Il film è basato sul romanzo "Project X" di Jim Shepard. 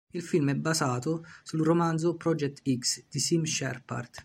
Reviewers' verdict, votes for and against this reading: rejected, 1, 2